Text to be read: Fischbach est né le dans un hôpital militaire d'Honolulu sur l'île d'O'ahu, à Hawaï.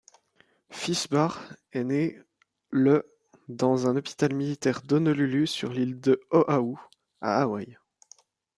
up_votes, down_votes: 0, 2